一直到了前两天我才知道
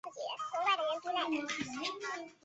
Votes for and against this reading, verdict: 2, 2, rejected